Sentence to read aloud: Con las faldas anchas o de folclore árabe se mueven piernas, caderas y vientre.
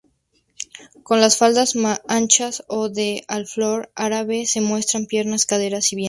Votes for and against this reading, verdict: 0, 2, rejected